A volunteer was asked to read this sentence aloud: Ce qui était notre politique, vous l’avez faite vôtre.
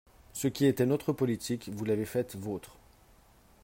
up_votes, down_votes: 5, 0